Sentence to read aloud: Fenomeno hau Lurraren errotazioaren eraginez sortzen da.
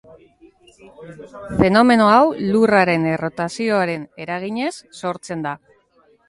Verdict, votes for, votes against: rejected, 1, 2